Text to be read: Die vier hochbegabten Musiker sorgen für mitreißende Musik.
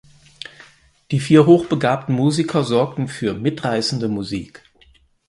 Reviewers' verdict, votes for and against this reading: rejected, 2, 4